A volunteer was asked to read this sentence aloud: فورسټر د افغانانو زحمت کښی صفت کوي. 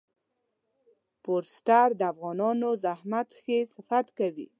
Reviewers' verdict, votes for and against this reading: accepted, 2, 0